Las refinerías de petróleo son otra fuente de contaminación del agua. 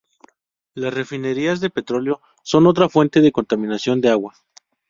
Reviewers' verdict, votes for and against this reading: rejected, 0, 2